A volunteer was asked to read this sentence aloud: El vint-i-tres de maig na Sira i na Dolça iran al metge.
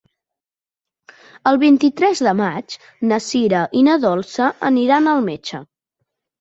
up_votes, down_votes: 1, 2